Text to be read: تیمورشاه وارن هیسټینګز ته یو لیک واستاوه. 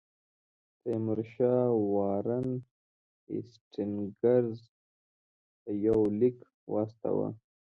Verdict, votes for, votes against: accepted, 2, 1